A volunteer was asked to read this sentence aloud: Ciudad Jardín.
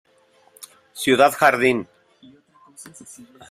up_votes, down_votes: 2, 0